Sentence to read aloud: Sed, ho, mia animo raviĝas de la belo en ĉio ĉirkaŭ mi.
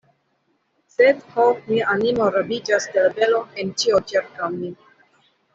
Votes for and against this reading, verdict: 0, 2, rejected